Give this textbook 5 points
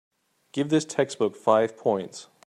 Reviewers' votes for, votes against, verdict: 0, 2, rejected